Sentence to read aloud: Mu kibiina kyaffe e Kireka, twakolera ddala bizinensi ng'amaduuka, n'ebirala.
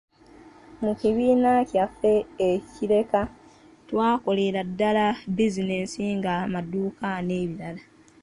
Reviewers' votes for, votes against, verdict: 1, 2, rejected